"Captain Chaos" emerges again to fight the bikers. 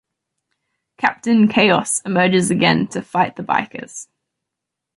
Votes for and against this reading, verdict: 0, 2, rejected